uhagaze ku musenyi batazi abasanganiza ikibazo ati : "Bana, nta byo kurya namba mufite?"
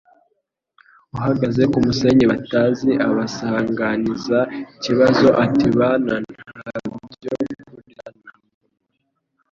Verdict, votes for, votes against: rejected, 1, 2